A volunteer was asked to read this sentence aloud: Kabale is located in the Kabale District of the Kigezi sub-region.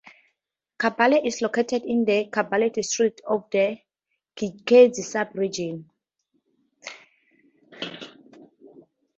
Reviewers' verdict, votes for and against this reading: rejected, 0, 2